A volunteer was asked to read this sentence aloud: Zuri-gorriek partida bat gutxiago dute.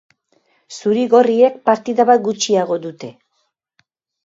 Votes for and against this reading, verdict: 3, 0, accepted